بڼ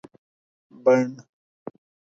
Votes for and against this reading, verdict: 4, 0, accepted